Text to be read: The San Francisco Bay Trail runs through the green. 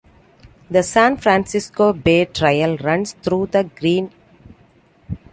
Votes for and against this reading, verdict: 2, 0, accepted